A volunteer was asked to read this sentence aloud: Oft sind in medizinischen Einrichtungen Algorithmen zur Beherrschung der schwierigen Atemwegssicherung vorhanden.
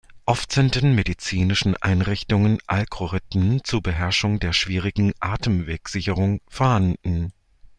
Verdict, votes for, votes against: rejected, 0, 2